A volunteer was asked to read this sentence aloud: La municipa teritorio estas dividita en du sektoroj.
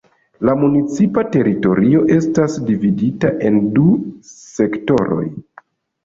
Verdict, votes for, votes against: accepted, 3, 1